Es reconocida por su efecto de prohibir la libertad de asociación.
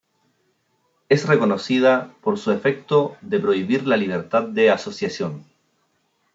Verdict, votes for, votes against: accepted, 2, 1